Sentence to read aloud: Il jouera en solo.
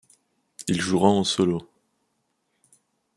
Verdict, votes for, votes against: accepted, 2, 0